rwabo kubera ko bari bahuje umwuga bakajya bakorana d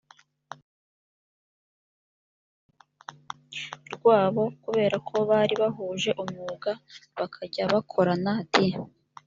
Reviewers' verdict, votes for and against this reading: rejected, 1, 2